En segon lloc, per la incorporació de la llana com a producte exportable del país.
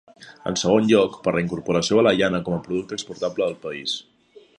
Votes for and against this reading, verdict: 2, 0, accepted